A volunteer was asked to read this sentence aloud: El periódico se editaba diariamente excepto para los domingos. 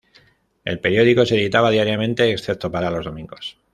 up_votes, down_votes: 2, 0